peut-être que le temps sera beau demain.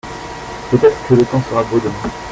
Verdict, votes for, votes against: accepted, 2, 1